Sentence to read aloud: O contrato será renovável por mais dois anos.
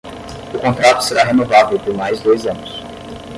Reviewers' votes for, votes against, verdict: 0, 5, rejected